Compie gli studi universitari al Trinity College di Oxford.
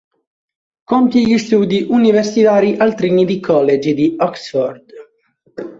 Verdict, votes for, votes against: accepted, 3, 1